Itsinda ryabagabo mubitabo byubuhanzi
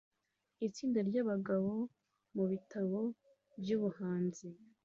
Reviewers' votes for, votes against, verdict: 2, 0, accepted